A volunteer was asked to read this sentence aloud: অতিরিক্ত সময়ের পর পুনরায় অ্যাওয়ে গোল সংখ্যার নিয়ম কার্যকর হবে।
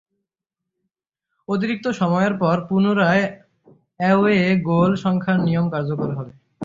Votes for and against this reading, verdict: 0, 3, rejected